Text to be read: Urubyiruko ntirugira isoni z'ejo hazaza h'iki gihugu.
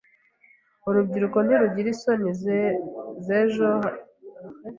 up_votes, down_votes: 1, 2